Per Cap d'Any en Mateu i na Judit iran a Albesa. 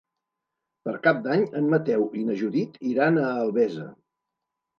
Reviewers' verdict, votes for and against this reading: accepted, 2, 0